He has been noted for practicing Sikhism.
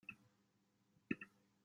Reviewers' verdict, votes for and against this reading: rejected, 0, 2